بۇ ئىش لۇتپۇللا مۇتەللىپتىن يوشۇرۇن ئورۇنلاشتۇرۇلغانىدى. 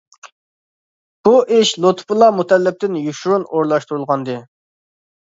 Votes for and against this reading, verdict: 2, 0, accepted